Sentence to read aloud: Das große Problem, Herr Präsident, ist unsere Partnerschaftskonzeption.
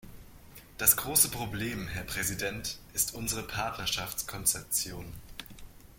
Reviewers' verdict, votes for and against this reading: accepted, 2, 0